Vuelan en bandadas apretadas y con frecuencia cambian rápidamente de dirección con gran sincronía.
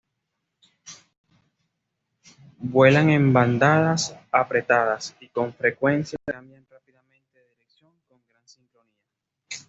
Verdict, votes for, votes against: accepted, 2, 1